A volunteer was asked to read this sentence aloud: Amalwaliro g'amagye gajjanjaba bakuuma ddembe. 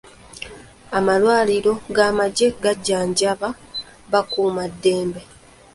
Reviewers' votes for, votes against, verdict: 2, 0, accepted